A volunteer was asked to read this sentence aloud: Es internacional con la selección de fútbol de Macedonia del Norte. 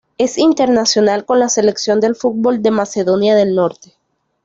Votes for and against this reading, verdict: 0, 2, rejected